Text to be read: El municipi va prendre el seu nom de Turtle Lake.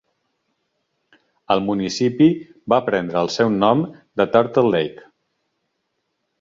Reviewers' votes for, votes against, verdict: 2, 0, accepted